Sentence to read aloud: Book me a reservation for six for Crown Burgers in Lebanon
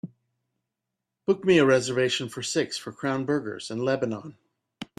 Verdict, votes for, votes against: accepted, 2, 0